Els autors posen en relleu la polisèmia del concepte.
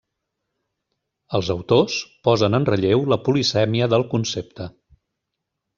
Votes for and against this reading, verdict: 3, 0, accepted